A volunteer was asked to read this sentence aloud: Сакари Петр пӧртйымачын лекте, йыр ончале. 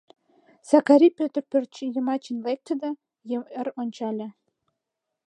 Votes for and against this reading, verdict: 1, 2, rejected